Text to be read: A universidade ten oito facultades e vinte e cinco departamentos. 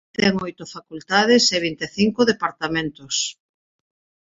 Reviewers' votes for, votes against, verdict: 1, 2, rejected